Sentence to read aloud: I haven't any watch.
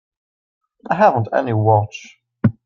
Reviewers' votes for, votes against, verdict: 4, 0, accepted